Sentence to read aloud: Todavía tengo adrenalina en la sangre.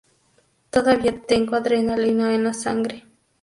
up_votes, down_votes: 2, 0